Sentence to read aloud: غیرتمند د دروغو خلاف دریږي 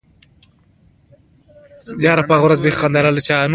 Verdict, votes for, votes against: accepted, 2, 0